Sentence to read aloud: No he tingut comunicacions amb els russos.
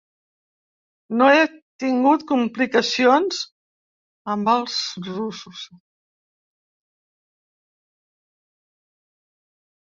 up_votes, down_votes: 0, 2